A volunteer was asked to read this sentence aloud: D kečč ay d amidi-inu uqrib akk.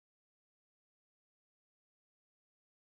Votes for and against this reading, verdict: 0, 2, rejected